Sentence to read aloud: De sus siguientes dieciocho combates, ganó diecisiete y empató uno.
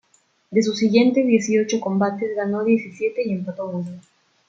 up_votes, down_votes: 1, 2